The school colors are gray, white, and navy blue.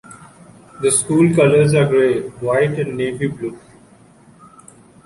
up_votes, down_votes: 2, 0